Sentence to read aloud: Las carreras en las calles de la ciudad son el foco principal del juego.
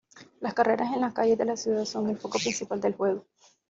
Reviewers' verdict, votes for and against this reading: accepted, 2, 1